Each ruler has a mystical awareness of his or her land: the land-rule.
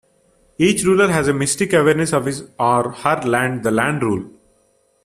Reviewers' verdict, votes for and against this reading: rejected, 1, 2